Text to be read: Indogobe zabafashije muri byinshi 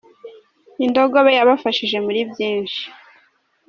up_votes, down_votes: 0, 2